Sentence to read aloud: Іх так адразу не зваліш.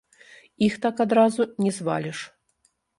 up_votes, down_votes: 0, 2